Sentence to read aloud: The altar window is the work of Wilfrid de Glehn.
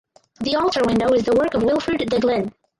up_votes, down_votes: 2, 4